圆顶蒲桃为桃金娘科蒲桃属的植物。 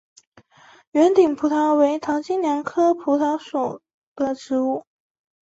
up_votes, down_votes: 2, 1